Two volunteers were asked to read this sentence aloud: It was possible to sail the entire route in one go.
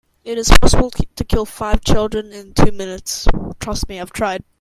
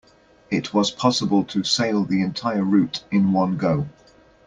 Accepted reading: second